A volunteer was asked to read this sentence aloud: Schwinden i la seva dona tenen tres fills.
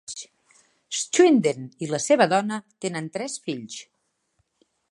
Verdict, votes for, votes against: accepted, 3, 0